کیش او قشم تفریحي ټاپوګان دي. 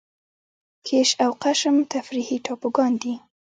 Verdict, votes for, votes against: accepted, 2, 1